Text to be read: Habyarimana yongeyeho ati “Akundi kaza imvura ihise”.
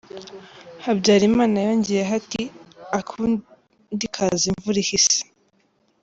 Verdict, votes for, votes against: accepted, 2, 0